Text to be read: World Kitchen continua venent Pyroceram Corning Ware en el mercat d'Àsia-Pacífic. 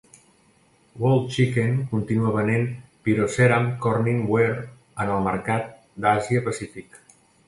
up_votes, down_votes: 0, 2